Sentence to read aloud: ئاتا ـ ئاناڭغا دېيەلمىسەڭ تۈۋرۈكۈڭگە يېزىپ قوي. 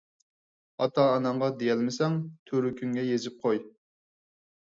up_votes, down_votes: 4, 0